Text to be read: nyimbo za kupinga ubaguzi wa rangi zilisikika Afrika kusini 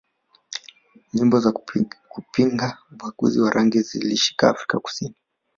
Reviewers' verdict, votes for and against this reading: rejected, 0, 2